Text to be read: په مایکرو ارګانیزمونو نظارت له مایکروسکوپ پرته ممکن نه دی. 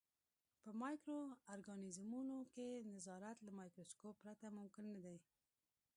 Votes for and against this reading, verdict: 0, 2, rejected